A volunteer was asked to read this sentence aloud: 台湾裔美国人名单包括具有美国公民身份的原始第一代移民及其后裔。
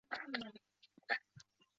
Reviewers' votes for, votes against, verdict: 1, 4, rejected